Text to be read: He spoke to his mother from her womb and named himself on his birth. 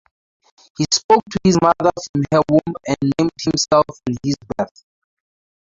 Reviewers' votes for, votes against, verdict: 0, 2, rejected